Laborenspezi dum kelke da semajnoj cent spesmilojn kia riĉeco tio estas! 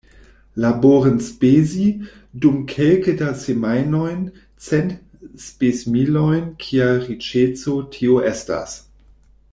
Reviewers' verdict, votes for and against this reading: rejected, 0, 2